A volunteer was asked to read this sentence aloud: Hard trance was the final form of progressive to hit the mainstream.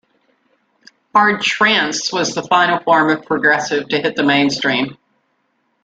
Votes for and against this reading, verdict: 2, 0, accepted